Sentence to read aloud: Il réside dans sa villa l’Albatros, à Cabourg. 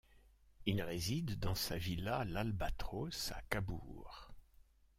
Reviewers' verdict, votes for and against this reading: accepted, 2, 0